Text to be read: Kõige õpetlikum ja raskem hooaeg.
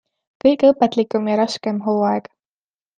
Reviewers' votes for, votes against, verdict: 2, 0, accepted